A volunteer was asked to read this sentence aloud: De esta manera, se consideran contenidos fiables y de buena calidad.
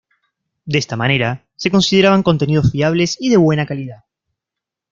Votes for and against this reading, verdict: 1, 2, rejected